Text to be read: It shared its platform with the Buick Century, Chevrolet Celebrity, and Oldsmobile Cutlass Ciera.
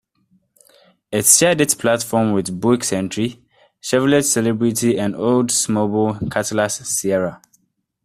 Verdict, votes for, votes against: rejected, 1, 2